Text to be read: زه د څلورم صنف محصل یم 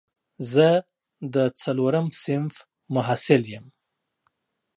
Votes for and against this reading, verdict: 2, 0, accepted